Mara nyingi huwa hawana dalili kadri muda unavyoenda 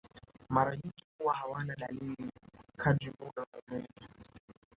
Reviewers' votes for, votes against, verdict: 2, 1, accepted